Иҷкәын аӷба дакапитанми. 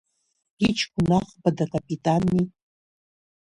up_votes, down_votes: 1, 2